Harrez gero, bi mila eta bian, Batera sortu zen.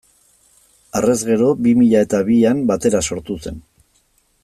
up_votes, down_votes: 2, 0